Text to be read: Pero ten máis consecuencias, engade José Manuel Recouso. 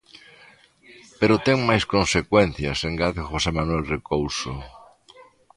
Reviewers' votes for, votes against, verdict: 2, 1, accepted